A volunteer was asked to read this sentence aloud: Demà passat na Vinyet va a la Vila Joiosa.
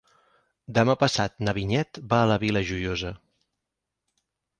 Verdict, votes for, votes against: accepted, 6, 2